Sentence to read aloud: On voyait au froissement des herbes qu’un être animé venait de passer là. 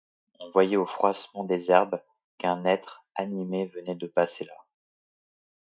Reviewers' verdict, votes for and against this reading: rejected, 0, 2